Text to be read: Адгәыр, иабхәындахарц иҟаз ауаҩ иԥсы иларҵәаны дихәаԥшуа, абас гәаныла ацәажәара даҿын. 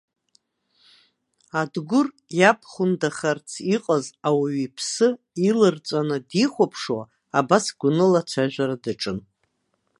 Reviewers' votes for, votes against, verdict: 1, 2, rejected